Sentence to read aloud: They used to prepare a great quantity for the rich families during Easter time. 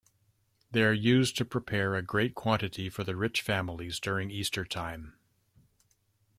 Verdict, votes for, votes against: rejected, 0, 2